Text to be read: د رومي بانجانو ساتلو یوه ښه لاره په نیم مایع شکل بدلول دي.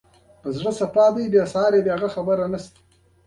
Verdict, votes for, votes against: rejected, 1, 2